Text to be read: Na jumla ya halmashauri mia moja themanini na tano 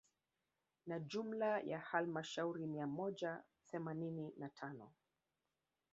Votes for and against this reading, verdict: 1, 2, rejected